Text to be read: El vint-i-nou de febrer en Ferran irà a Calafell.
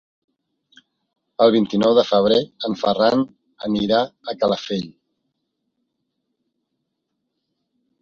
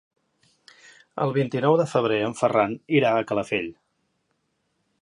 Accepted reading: second